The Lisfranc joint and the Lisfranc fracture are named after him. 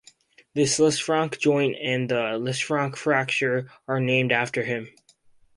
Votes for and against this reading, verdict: 2, 2, rejected